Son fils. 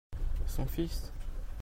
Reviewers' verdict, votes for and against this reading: accepted, 2, 1